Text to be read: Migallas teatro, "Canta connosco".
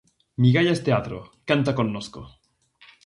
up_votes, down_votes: 2, 0